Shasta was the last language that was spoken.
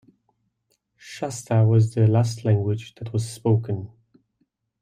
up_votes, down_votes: 2, 0